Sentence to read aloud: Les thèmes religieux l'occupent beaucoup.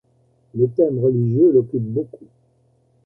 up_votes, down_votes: 1, 2